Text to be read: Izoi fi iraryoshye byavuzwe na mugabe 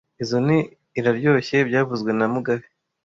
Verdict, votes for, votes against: accepted, 2, 0